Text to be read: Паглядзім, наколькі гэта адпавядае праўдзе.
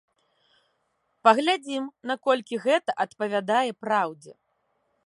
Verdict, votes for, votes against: accepted, 2, 1